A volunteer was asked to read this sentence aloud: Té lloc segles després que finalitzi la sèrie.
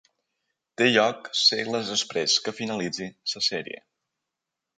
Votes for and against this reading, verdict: 3, 0, accepted